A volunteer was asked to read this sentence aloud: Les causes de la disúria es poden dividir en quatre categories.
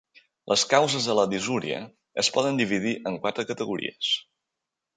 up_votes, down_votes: 2, 0